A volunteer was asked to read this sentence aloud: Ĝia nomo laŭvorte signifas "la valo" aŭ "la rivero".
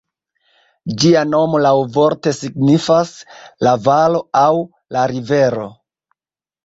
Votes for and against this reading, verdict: 1, 2, rejected